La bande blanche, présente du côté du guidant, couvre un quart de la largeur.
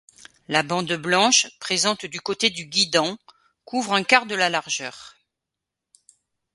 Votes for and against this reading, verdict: 2, 0, accepted